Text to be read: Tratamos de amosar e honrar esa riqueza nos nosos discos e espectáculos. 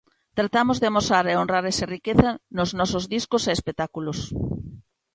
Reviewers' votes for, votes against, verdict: 2, 0, accepted